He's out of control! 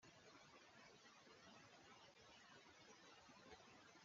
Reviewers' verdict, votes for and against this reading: rejected, 0, 2